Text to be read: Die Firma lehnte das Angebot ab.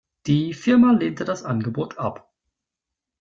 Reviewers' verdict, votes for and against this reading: accepted, 2, 0